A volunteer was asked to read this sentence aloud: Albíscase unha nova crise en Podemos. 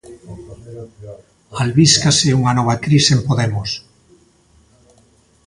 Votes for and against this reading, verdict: 2, 0, accepted